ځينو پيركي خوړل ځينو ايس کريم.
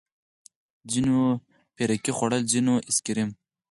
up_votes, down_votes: 0, 4